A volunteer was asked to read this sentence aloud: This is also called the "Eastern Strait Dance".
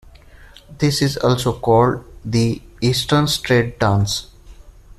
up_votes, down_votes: 1, 2